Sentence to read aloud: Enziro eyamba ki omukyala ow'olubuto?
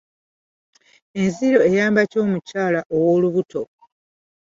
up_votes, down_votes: 2, 1